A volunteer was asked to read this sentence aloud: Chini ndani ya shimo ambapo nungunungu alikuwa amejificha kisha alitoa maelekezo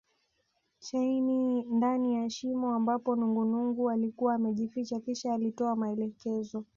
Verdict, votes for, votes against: rejected, 1, 2